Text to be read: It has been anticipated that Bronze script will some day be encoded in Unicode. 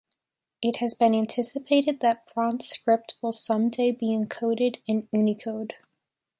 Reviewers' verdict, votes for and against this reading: accepted, 2, 0